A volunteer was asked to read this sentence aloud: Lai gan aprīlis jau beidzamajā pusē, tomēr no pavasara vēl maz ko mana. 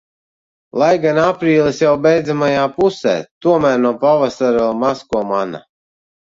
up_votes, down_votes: 2, 0